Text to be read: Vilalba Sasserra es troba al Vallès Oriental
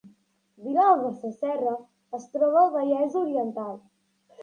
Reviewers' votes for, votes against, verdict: 2, 0, accepted